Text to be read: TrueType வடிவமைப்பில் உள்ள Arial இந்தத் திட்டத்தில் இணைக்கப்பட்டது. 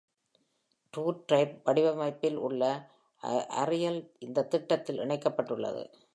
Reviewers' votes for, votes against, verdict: 2, 0, accepted